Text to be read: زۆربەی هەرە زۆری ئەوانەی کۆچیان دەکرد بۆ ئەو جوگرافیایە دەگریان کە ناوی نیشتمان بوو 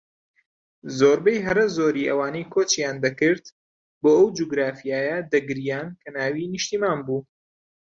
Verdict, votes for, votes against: accepted, 2, 0